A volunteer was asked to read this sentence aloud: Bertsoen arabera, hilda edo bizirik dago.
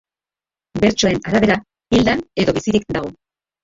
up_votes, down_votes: 0, 3